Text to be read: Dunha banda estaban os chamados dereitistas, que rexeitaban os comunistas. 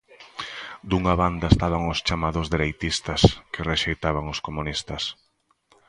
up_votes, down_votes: 2, 0